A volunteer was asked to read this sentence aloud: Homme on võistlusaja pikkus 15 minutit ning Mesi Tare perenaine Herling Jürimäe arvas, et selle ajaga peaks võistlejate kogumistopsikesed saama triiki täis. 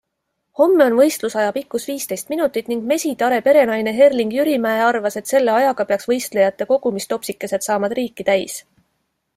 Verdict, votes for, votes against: rejected, 0, 2